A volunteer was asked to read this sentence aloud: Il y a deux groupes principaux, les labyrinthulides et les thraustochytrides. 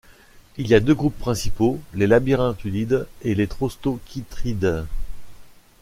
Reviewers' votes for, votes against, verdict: 2, 0, accepted